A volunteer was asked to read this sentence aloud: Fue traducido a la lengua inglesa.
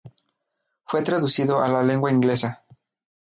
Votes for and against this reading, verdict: 2, 0, accepted